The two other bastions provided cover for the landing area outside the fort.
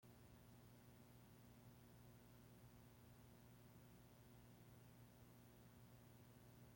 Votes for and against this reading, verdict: 0, 2, rejected